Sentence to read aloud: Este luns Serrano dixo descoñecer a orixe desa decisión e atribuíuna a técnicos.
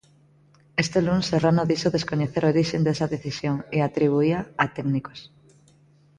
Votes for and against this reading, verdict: 0, 2, rejected